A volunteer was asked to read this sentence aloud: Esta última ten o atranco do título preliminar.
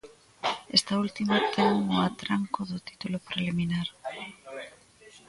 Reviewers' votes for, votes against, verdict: 1, 3, rejected